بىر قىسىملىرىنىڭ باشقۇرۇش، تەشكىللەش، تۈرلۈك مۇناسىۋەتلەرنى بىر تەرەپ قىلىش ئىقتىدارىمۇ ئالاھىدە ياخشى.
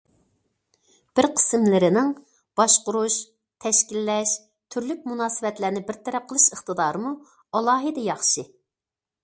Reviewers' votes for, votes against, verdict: 2, 0, accepted